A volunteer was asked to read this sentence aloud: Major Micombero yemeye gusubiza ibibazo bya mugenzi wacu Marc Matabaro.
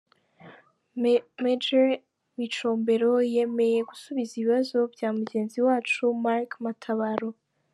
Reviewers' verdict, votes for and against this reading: rejected, 0, 3